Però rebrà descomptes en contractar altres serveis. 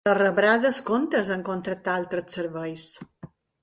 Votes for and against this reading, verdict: 1, 2, rejected